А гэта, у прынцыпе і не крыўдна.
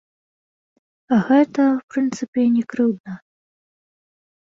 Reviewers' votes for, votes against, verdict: 0, 2, rejected